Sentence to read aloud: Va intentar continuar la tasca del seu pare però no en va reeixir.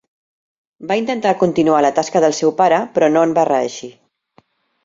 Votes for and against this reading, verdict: 3, 1, accepted